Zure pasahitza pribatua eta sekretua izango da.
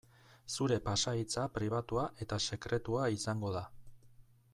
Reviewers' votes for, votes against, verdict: 2, 0, accepted